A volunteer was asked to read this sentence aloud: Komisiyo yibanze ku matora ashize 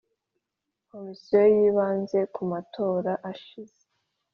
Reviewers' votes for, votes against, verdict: 2, 0, accepted